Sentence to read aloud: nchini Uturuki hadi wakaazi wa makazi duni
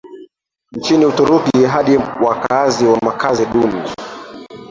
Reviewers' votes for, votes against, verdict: 0, 2, rejected